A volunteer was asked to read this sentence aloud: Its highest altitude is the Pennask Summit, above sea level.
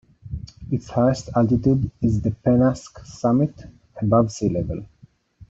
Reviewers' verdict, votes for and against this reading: rejected, 1, 2